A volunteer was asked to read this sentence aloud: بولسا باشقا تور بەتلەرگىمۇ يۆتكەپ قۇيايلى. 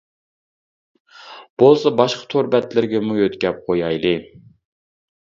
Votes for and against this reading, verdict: 0, 2, rejected